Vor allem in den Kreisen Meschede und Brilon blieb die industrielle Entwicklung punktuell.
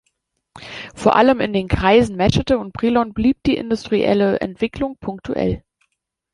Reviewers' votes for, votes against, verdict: 2, 0, accepted